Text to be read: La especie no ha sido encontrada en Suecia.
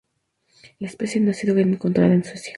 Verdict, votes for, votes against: accepted, 2, 0